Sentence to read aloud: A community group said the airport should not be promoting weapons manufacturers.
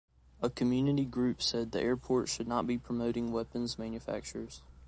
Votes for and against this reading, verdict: 2, 0, accepted